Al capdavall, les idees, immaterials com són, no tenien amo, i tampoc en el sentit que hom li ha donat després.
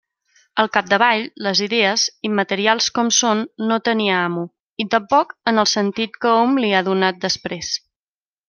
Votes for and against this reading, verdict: 1, 2, rejected